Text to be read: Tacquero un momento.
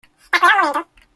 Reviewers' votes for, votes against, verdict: 0, 2, rejected